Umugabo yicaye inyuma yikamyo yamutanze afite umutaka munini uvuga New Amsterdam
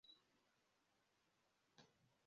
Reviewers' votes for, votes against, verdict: 0, 2, rejected